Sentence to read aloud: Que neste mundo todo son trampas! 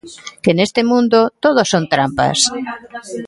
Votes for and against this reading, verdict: 2, 0, accepted